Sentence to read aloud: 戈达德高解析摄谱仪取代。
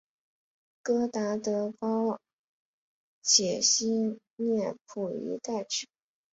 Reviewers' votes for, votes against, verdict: 0, 2, rejected